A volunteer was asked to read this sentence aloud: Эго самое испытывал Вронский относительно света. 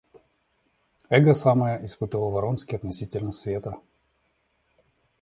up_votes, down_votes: 2, 0